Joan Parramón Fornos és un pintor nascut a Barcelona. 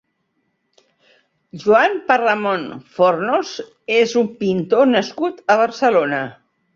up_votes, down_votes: 3, 1